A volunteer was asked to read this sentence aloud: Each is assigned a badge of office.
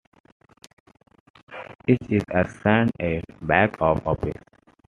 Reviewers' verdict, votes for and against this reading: accepted, 2, 1